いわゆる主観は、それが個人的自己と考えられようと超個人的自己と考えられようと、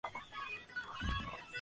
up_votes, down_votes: 1, 2